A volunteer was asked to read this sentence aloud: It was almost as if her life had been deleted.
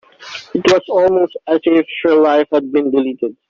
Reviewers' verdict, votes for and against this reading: rejected, 2, 3